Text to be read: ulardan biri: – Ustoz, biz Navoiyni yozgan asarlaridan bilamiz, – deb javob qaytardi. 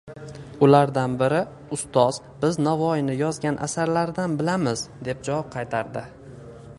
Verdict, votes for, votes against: rejected, 1, 2